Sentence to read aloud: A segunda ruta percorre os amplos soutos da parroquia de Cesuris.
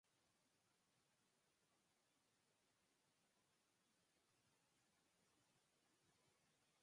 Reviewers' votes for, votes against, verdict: 0, 4, rejected